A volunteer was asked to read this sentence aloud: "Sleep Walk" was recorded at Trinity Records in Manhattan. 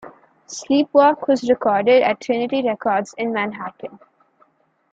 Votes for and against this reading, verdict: 2, 1, accepted